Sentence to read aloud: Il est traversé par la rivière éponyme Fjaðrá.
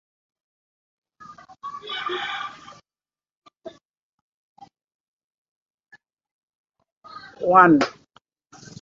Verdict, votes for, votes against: rejected, 0, 2